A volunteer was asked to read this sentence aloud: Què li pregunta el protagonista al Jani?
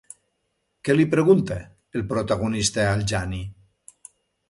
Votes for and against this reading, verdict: 2, 0, accepted